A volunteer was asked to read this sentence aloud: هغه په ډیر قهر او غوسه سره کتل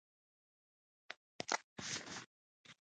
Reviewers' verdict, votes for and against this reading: rejected, 0, 2